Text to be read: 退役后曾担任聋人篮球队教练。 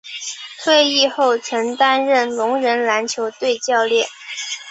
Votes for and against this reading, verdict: 2, 0, accepted